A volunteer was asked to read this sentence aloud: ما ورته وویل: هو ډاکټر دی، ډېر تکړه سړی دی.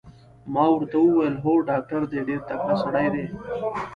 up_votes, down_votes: 1, 2